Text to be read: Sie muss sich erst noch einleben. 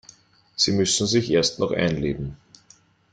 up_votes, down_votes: 0, 2